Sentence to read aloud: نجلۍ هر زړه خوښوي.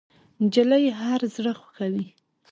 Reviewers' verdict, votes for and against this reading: rejected, 1, 2